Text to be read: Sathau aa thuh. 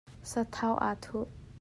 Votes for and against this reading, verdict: 2, 0, accepted